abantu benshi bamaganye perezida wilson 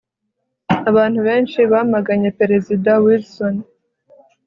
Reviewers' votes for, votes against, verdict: 2, 0, accepted